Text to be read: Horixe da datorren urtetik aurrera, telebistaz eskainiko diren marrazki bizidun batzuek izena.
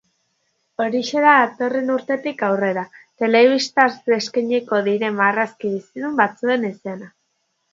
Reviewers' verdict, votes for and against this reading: accepted, 2, 0